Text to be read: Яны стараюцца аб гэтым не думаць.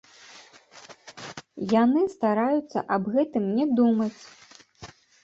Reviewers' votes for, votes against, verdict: 1, 2, rejected